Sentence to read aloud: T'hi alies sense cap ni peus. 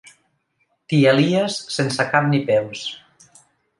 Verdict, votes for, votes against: accepted, 2, 0